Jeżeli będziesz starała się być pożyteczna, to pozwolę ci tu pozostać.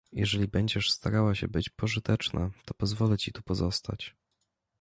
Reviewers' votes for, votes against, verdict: 2, 0, accepted